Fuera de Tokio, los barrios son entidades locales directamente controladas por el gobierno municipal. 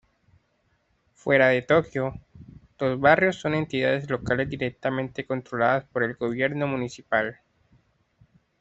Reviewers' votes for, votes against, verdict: 2, 0, accepted